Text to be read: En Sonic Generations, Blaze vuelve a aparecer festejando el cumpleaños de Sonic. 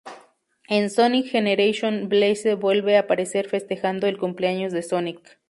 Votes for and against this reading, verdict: 0, 2, rejected